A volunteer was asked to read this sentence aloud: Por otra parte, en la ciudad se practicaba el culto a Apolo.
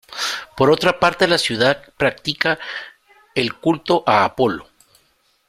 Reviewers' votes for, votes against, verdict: 1, 2, rejected